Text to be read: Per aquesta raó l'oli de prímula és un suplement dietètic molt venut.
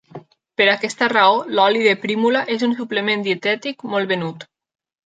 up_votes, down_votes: 3, 0